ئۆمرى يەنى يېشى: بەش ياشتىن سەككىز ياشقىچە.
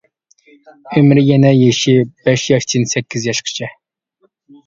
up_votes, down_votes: 0, 2